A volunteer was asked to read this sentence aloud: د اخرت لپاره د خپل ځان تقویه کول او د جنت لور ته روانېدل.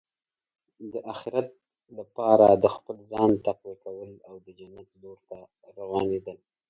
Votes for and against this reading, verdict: 1, 3, rejected